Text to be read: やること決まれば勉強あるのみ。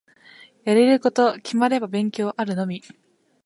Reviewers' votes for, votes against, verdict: 0, 2, rejected